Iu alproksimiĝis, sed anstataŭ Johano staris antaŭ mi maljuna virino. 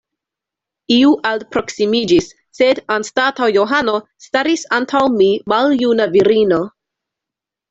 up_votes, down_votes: 2, 0